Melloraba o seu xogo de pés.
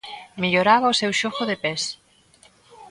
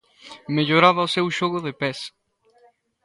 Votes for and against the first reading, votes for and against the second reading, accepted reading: 2, 0, 1, 2, first